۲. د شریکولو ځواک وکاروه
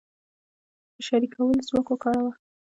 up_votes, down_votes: 0, 2